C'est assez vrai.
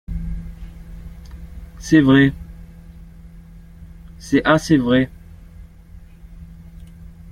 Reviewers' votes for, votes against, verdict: 0, 2, rejected